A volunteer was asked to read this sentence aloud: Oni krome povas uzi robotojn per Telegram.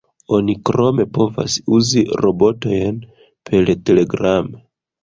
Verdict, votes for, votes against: rejected, 0, 2